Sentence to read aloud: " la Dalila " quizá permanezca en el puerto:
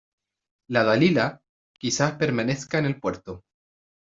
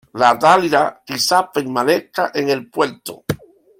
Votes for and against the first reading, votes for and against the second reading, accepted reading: 2, 0, 0, 2, first